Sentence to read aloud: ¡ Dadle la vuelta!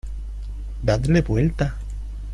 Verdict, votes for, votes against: accepted, 2, 1